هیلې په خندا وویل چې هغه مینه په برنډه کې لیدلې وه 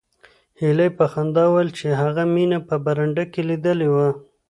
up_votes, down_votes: 2, 0